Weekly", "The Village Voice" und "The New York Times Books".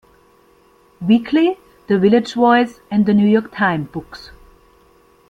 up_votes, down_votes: 1, 3